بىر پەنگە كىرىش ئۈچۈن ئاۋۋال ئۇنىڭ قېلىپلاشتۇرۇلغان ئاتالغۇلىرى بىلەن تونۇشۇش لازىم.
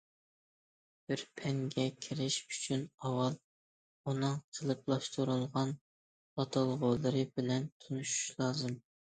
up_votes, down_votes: 2, 0